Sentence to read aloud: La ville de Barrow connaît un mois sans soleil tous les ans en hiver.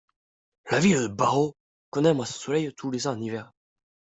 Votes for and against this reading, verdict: 0, 2, rejected